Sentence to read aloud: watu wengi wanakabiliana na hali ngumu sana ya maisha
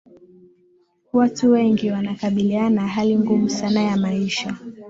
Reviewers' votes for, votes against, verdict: 12, 0, accepted